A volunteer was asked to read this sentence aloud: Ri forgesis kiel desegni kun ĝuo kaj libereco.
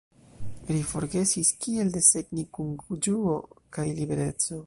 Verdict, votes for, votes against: accepted, 2, 0